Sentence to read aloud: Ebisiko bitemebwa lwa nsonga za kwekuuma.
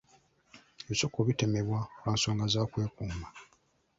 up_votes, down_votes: 2, 0